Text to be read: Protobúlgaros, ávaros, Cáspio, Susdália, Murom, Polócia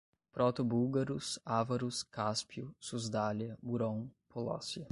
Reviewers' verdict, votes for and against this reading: accepted, 5, 0